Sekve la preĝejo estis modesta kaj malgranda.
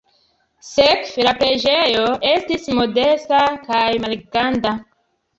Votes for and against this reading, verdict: 1, 2, rejected